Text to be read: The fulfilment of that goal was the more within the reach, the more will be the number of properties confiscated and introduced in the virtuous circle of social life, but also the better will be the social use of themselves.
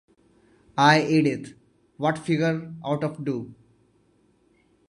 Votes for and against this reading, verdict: 0, 2, rejected